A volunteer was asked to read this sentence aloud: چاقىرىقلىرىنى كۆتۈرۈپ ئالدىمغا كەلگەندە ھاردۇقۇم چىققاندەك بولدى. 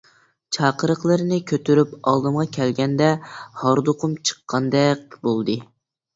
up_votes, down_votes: 2, 0